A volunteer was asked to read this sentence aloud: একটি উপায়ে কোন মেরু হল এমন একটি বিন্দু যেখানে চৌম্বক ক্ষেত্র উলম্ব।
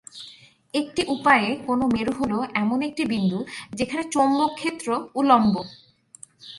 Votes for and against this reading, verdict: 6, 0, accepted